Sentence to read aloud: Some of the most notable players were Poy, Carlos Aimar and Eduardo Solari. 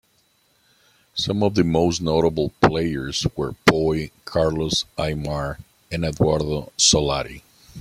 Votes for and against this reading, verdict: 0, 2, rejected